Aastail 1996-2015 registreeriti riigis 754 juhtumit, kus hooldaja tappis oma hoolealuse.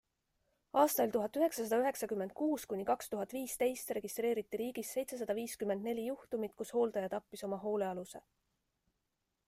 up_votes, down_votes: 0, 2